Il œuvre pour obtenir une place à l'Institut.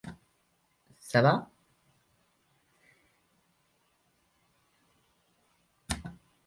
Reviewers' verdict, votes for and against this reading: rejected, 0, 2